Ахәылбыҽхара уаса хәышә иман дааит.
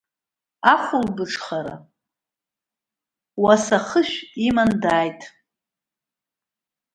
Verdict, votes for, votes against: rejected, 1, 2